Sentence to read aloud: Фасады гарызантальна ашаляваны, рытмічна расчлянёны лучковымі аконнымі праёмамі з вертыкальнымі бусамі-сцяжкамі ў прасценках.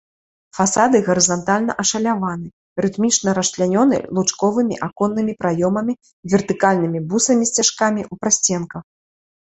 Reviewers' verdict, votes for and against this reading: rejected, 0, 2